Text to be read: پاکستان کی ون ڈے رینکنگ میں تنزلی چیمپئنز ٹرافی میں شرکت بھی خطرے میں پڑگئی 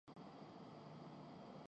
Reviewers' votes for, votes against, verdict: 0, 2, rejected